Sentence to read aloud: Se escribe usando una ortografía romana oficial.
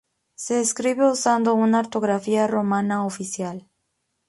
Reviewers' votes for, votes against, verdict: 2, 0, accepted